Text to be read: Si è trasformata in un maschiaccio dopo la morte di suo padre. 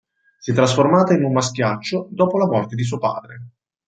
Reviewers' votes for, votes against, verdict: 2, 0, accepted